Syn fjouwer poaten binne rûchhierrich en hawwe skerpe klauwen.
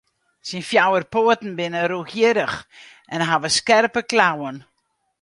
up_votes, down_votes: 2, 2